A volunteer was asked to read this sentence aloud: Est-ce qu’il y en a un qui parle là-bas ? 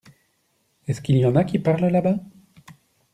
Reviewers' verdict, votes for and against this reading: rejected, 0, 2